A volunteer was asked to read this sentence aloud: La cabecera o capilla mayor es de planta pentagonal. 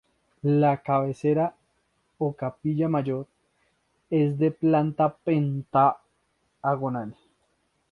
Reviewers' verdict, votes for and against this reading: rejected, 0, 2